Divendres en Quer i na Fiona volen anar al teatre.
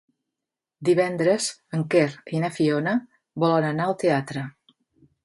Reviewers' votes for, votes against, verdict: 5, 0, accepted